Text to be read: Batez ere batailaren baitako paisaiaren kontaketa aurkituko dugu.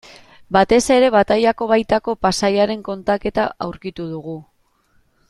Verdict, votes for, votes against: rejected, 1, 2